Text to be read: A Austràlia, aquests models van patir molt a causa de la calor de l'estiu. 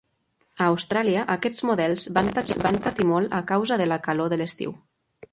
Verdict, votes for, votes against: rejected, 2, 3